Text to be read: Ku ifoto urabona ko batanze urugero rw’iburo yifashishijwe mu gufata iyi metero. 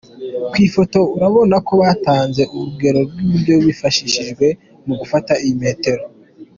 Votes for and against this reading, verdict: 2, 1, accepted